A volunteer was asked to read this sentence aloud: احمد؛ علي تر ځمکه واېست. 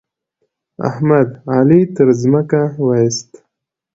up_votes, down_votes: 2, 0